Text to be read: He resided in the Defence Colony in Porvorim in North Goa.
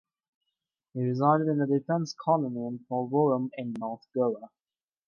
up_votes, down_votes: 2, 0